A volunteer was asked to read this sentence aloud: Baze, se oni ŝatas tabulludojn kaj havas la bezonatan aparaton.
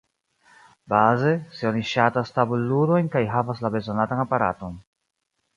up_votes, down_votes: 2, 0